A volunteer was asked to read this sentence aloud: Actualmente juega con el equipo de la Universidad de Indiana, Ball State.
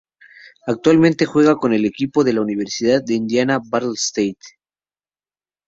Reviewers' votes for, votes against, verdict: 2, 2, rejected